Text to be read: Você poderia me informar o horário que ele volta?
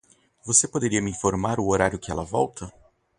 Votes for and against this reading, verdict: 2, 0, accepted